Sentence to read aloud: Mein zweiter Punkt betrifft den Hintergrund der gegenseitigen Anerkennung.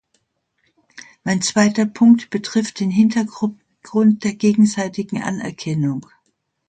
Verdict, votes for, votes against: rejected, 0, 2